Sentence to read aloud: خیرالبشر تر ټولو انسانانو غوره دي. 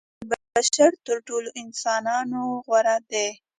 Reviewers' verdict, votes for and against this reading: rejected, 0, 2